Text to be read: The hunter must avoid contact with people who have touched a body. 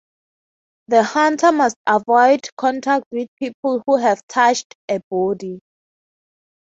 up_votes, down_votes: 3, 0